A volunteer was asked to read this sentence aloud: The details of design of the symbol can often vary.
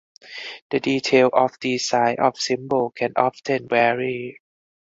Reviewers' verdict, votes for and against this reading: rejected, 0, 4